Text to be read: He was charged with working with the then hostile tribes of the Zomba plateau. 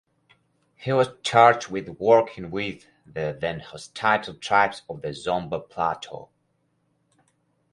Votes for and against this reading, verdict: 4, 0, accepted